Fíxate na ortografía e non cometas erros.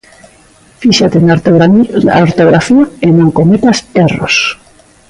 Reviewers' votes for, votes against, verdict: 0, 2, rejected